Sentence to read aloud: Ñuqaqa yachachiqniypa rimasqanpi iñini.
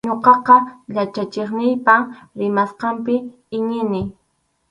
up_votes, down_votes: 4, 0